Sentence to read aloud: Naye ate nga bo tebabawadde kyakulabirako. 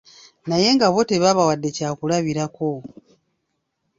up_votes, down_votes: 0, 2